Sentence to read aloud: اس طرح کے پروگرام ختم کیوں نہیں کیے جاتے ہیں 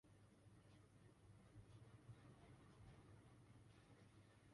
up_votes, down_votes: 0, 2